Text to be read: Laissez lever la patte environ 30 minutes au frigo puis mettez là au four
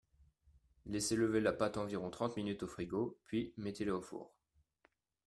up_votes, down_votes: 0, 2